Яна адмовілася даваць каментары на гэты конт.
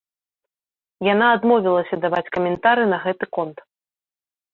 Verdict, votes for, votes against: rejected, 1, 2